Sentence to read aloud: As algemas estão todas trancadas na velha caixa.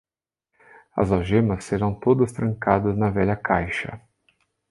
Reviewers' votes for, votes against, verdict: 1, 2, rejected